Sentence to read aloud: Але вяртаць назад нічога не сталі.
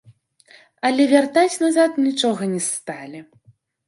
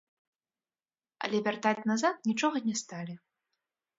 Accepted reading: first